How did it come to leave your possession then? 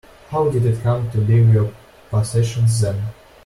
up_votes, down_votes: 0, 2